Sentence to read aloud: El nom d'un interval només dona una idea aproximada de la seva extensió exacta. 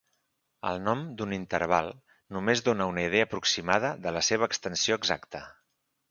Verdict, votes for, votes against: accepted, 2, 0